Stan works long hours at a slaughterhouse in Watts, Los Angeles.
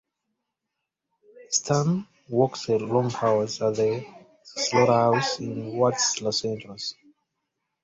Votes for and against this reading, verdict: 1, 2, rejected